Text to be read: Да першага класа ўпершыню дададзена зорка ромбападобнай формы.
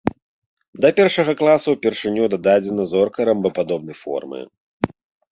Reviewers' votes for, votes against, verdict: 2, 0, accepted